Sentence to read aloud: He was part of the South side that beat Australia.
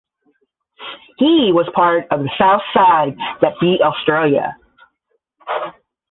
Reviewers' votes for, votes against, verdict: 5, 5, rejected